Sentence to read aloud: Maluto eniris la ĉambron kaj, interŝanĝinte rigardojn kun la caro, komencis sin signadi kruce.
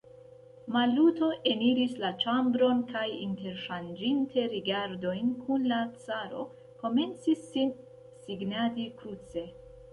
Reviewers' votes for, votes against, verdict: 2, 0, accepted